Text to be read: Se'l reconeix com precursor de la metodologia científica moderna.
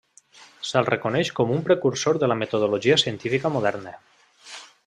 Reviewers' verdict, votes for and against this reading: rejected, 0, 2